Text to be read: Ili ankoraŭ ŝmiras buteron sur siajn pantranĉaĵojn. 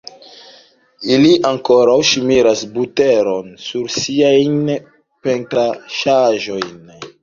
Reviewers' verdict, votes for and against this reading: rejected, 1, 2